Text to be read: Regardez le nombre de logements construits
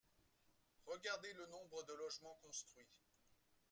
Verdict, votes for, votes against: accepted, 2, 1